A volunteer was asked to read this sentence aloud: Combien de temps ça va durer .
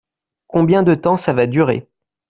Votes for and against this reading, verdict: 2, 0, accepted